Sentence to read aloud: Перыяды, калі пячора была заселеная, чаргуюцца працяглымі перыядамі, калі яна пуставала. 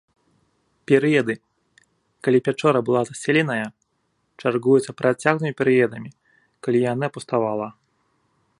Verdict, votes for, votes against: accepted, 2, 0